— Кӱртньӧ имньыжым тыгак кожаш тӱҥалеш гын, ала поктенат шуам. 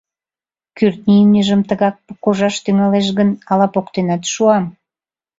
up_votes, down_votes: 0, 2